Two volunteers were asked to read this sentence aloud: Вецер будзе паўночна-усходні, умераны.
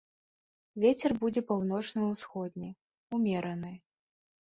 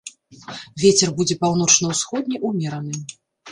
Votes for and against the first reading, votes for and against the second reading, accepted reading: 2, 0, 1, 2, first